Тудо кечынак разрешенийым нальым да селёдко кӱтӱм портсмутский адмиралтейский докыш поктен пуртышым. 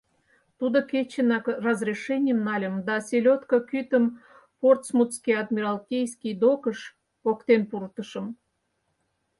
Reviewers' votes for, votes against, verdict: 0, 4, rejected